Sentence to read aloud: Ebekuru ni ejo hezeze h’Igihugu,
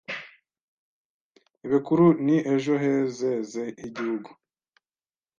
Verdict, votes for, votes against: rejected, 0, 2